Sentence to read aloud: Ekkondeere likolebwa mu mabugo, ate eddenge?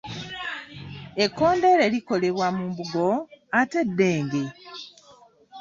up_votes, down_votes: 0, 2